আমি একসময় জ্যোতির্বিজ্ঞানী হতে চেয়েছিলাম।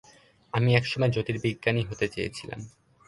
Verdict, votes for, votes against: accepted, 2, 0